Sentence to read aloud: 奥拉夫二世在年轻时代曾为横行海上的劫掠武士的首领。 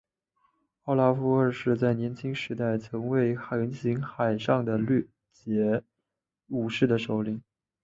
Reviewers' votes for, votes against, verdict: 4, 2, accepted